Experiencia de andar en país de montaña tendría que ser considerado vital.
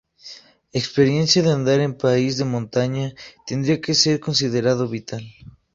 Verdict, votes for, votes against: accepted, 4, 0